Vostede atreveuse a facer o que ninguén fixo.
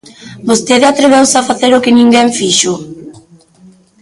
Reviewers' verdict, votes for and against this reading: accepted, 2, 0